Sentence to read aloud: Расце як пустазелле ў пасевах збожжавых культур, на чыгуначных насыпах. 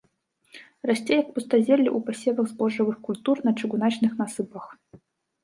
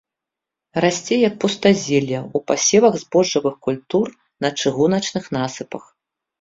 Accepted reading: second